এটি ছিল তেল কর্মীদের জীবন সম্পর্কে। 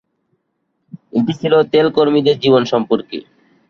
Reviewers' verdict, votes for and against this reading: accepted, 2, 0